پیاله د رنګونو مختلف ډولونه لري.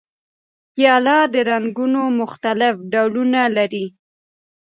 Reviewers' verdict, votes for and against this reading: accepted, 2, 0